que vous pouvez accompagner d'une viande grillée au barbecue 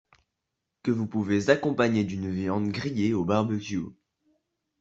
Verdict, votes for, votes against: accepted, 2, 0